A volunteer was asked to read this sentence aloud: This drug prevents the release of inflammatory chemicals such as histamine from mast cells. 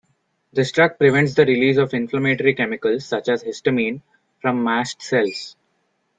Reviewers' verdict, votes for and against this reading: accepted, 2, 0